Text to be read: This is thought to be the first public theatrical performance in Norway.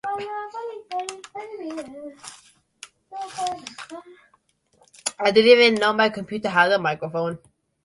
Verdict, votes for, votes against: rejected, 1, 2